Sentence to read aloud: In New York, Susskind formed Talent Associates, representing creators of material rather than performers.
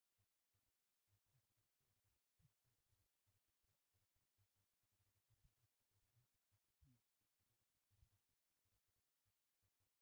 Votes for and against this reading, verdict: 0, 2, rejected